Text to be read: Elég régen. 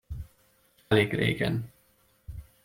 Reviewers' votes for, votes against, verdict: 2, 0, accepted